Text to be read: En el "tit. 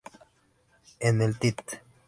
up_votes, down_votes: 2, 0